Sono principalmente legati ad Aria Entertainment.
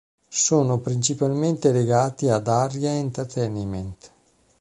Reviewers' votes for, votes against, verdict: 1, 2, rejected